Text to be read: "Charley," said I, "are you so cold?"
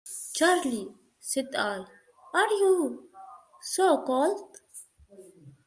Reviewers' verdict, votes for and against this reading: accepted, 2, 0